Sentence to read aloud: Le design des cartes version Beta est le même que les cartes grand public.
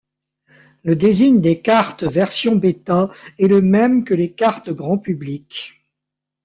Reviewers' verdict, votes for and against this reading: rejected, 1, 2